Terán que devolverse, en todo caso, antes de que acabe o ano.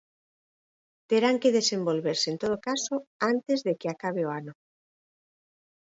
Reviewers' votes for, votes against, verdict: 0, 4, rejected